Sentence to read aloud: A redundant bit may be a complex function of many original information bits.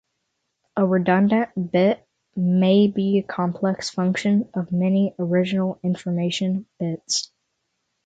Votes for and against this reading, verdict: 0, 3, rejected